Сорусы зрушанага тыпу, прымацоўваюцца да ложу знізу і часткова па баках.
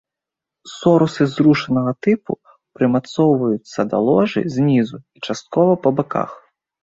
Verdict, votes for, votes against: accepted, 2, 1